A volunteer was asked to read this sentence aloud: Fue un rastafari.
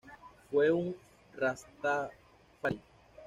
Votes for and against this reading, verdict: 1, 2, rejected